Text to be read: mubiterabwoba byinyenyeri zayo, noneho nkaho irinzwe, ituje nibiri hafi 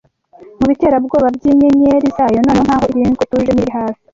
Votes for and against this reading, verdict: 1, 2, rejected